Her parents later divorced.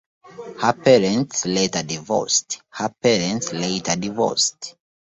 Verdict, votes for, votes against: rejected, 0, 2